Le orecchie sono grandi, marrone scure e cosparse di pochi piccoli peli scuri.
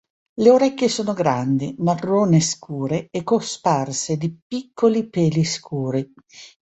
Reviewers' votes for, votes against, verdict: 1, 2, rejected